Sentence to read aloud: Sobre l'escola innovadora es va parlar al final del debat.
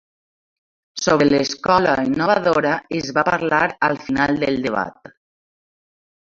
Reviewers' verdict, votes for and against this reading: rejected, 1, 2